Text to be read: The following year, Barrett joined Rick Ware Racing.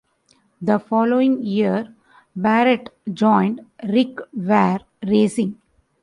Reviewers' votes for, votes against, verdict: 2, 0, accepted